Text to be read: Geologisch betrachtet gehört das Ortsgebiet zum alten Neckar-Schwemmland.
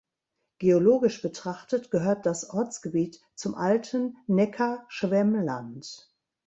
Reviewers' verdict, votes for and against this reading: accepted, 2, 0